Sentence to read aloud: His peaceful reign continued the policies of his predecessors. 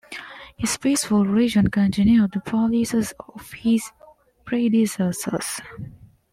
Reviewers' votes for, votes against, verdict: 1, 2, rejected